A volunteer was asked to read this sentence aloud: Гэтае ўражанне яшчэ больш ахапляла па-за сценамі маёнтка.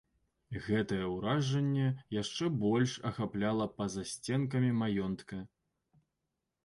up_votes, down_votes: 1, 2